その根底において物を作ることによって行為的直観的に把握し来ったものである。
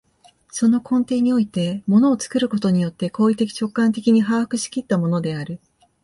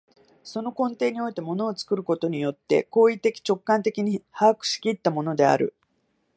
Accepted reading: second